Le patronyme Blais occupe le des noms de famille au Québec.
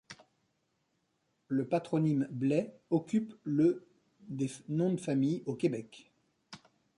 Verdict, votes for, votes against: rejected, 0, 2